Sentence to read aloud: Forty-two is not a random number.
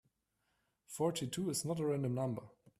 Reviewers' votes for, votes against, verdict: 2, 1, accepted